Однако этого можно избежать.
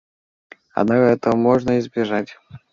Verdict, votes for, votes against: accepted, 2, 1